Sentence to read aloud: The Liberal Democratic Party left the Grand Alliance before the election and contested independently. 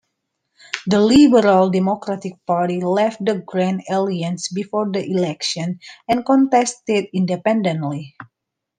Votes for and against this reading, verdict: 0, 2, rejected